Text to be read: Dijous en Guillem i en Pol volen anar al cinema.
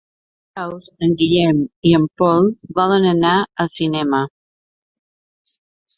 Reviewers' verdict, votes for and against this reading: rejected, 0, 2